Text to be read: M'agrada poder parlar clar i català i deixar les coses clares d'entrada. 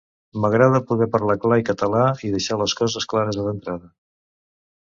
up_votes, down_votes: 0, 2